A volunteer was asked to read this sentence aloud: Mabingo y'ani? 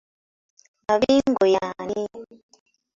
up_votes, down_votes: 3, 0